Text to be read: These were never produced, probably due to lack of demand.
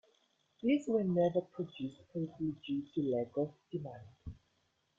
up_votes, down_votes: 2, 1